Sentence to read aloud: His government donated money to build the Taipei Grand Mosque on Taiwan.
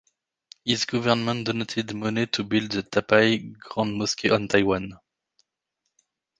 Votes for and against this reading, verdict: 2, 3, rejected